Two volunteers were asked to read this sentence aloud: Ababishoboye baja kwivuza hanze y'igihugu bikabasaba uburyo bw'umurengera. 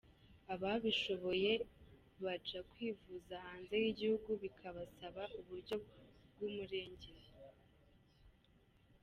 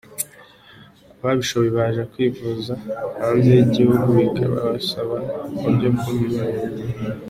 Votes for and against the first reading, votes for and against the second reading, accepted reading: 2, 0, 1, 3, first